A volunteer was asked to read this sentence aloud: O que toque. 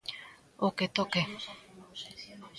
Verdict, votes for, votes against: rejected, 1, 2